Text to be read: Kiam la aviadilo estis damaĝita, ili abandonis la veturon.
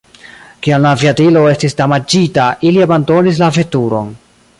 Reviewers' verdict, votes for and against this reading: rejected, 0, 2